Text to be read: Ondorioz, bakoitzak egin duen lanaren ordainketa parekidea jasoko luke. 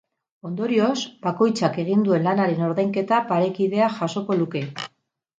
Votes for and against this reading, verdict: 2, 2, rejected